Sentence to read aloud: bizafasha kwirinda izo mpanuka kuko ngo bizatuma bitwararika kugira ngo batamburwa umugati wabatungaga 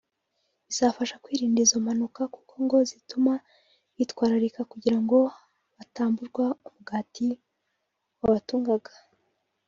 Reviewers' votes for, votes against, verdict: 1, 2, rejected